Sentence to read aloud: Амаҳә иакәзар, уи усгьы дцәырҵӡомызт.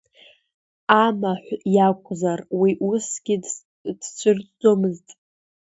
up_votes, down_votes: 2, 1